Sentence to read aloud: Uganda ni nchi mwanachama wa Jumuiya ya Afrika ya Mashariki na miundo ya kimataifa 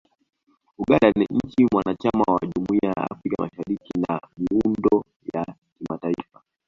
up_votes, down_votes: 1, 2